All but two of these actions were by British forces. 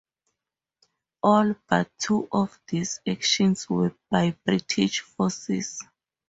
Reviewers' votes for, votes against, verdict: 2, 2, rejected